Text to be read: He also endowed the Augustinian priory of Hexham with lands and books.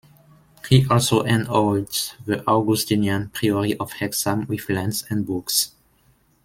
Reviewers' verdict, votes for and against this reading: rejected, 0, 2